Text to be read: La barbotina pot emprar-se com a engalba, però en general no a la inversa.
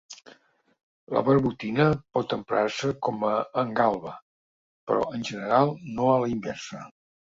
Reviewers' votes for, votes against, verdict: 3, 0, accepted